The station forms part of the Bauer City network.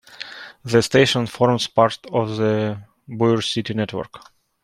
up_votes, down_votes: 2, 0